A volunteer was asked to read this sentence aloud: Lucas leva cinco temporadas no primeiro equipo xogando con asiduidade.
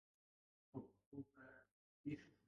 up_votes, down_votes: 0, 2